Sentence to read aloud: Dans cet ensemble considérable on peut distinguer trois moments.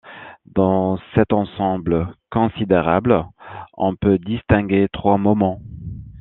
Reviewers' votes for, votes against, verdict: 2, 0, accepted